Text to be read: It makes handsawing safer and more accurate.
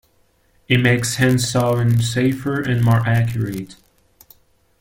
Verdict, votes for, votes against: rejected, 0, 2